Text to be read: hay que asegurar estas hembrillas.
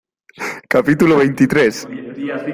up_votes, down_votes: 0, 2